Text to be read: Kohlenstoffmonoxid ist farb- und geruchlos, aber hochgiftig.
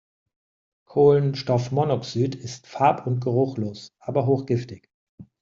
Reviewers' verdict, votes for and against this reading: accepted, 2, 0